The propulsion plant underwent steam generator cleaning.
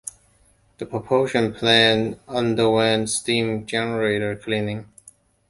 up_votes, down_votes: 2, 0